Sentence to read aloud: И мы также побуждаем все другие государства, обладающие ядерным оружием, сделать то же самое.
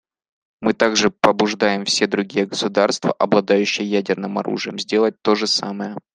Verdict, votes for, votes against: rejected, 1, 2